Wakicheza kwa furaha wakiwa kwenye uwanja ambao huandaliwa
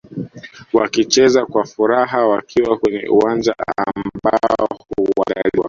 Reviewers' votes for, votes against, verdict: 2, 0, accepted